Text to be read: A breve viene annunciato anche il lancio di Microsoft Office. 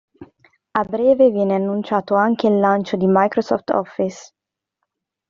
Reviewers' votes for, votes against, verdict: 2, 0, accepted